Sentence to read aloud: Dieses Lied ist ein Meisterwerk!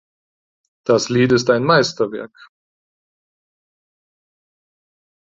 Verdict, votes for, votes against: rejected, 0, 4